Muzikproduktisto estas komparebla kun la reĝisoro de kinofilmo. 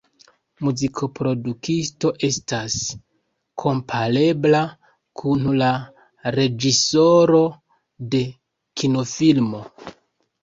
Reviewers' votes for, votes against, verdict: 1, 2, rejected